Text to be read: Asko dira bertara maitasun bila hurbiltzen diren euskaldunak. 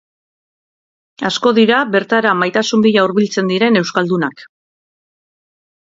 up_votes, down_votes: 2, 0